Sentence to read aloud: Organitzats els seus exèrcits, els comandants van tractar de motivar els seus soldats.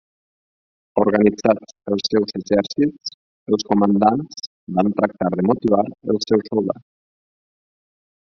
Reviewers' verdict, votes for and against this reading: rejected, 2, 4